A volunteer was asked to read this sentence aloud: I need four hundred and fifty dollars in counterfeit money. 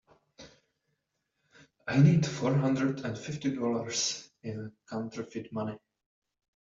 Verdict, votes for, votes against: rejected, 1, 2